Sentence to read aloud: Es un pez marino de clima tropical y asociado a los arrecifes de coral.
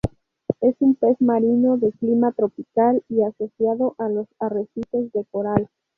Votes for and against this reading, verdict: 2, 2, rejected